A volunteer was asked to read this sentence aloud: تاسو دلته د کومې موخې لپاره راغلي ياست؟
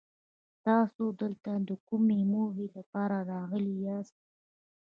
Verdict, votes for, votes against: accepted, 2, 0